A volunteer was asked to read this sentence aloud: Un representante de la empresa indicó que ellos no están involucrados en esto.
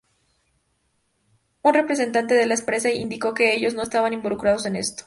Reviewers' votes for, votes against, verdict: 0, 2, rejected